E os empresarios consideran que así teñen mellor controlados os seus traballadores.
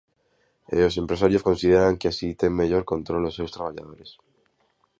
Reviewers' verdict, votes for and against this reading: rejected, 0, 2